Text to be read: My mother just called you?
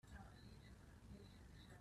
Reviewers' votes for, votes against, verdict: 0, 2, rejected